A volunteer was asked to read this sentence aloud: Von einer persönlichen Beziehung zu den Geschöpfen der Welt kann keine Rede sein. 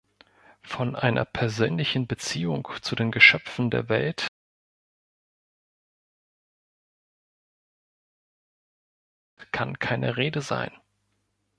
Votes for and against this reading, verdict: 0, 2, rejected